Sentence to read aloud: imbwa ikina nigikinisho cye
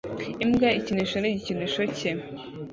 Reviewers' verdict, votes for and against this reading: rejected, 0, 2